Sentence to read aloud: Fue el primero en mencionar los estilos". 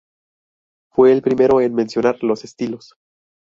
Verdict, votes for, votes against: rejected, 0, 2